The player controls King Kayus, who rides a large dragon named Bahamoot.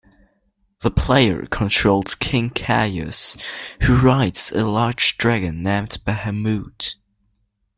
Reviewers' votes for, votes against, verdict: 2, 0, accepted